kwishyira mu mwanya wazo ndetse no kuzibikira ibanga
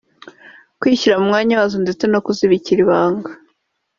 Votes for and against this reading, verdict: 2, 0, accepted